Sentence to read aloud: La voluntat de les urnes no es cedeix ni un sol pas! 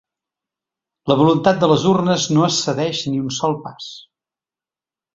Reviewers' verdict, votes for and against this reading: accepted, 4, 0